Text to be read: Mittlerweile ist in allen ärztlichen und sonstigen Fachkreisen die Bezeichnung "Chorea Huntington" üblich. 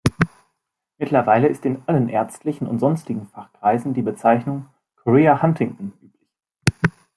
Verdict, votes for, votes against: rejected, 0, 2